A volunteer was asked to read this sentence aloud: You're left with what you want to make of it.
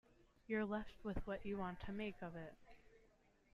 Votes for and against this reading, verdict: 2, 0, accepted